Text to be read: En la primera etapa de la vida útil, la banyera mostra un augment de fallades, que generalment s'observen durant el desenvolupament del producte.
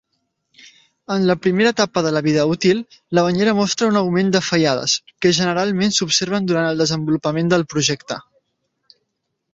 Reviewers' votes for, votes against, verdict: 0, 2, rejected